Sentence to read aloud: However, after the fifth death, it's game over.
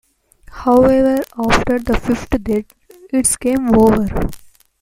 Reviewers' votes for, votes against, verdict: 2, 0, accepted